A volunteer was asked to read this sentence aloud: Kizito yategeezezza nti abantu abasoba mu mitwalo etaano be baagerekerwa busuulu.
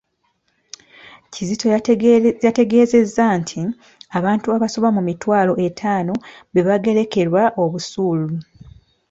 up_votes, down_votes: 2, 1